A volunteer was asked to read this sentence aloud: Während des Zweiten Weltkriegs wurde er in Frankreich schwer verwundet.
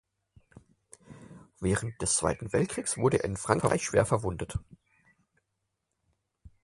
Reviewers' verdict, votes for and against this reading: accepted, 4, 0